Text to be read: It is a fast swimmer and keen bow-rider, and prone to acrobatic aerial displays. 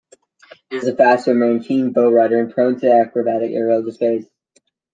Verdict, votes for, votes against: accepted, 2, 1